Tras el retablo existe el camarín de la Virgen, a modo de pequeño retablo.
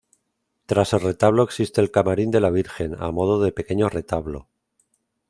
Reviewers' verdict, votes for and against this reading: rejected, 1, 2